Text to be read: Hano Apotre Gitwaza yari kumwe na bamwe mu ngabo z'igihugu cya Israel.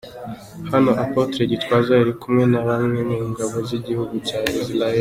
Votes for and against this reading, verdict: 2, 0, accepted